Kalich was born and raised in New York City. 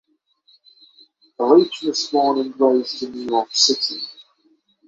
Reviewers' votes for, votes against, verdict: 3, 0, accepted